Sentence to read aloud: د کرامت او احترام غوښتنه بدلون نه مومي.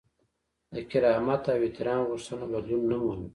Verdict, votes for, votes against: accepted, 2, 0